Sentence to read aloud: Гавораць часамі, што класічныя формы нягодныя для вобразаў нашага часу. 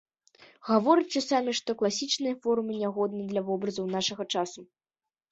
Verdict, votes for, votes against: rejected, 1, 2